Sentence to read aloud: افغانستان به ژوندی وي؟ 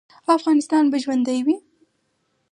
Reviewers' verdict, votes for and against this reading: rejected, 2, 2